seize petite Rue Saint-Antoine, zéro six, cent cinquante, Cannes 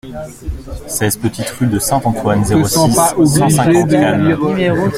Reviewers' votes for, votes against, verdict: 0, 2, rejected